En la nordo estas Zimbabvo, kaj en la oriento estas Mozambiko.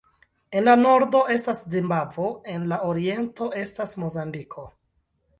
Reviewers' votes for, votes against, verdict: 2, 0, accepted